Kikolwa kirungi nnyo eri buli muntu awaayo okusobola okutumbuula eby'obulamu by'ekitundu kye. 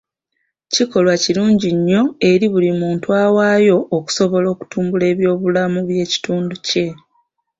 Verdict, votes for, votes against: rejected, 1, 2